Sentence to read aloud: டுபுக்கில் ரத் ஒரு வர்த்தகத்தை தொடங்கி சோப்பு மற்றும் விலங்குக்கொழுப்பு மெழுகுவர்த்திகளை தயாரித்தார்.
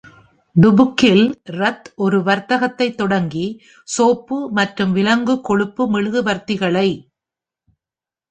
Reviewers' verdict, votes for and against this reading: rejected, 0, 2